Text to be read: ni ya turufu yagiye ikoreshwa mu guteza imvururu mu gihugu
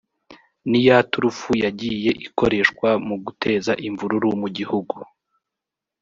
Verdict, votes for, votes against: accepted, 4, 0